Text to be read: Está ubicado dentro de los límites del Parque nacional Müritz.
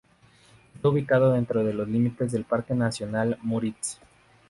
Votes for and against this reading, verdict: 0, 2, rejected